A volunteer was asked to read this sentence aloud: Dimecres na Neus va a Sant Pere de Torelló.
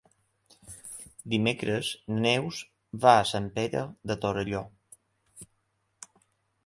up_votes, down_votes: 1, 2